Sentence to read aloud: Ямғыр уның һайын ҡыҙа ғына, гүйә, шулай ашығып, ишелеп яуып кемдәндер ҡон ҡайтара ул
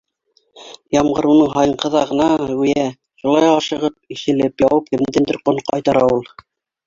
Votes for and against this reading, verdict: 1, 2, rejected